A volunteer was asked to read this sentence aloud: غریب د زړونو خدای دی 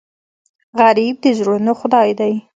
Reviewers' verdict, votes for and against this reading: rejected, 1, 2